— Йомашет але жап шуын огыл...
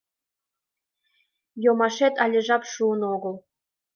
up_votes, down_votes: 2, 0